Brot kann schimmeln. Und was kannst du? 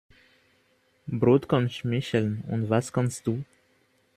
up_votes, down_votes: 0, 2